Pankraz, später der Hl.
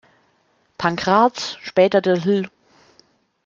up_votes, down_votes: 0, 2